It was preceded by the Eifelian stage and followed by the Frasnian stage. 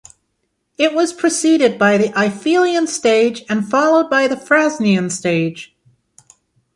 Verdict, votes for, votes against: accepted, 2, 0